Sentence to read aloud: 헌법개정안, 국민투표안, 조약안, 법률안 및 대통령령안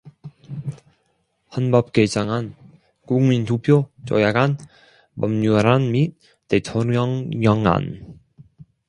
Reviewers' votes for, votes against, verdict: 1, 2, rejected